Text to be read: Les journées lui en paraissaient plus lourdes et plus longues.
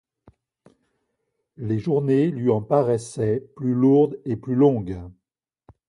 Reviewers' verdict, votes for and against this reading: accepted, 2, 0